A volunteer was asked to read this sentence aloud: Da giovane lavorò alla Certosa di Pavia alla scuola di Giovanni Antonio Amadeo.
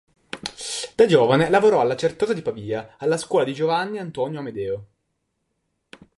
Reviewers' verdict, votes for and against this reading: rejected, 1, 2